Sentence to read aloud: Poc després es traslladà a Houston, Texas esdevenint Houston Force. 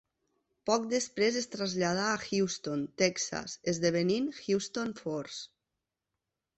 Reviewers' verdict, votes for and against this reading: rejected, 1, 2